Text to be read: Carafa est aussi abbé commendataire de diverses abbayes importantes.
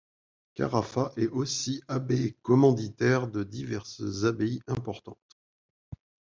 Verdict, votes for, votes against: rejected, 1, 2